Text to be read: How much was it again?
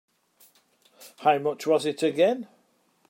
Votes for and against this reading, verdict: 2, 0, accepted